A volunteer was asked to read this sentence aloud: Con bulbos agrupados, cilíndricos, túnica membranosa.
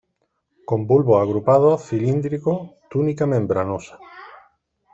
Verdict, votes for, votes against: rejected, 0, 2